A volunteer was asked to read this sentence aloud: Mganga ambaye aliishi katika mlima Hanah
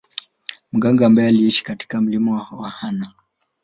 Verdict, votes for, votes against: rejected, 0, 2